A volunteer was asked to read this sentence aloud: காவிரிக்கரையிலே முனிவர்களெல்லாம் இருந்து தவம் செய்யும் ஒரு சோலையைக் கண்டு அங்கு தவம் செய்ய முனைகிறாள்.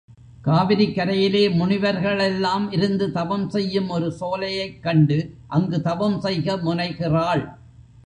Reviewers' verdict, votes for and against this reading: rejected, 1, 2